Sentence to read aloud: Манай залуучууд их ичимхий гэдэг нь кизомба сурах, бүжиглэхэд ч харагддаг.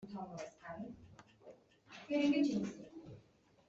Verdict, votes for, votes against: rejected, 0, 2